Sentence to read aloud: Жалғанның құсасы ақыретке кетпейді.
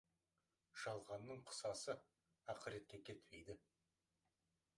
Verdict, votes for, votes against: rejected, 1, 2